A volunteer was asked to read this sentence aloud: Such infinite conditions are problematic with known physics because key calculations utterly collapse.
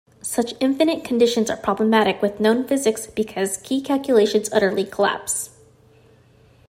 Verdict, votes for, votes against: accepted, 2, 0